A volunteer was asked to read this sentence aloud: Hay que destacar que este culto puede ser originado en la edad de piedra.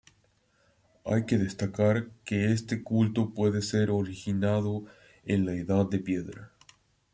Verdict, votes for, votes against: accepted, 2, 0